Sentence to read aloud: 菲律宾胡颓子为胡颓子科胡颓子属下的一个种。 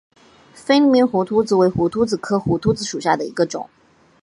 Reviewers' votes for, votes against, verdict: 3, 0, accepted